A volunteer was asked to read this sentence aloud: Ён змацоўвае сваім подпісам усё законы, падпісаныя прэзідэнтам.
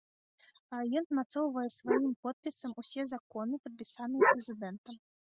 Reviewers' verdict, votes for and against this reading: rejected, 0, 2